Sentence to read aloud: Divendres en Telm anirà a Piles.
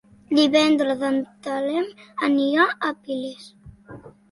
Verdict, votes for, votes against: rejected, 1, 2